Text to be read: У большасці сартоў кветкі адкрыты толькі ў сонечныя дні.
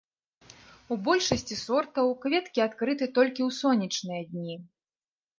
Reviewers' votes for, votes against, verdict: 0, 2, rejected